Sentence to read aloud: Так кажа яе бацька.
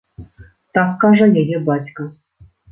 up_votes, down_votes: 2, 0